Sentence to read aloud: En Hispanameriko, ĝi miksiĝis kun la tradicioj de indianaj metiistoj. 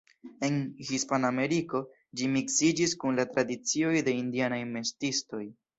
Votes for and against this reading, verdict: 1, 2, rejected